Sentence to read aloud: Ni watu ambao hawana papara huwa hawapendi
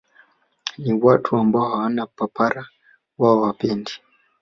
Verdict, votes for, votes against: accepted, 2, 0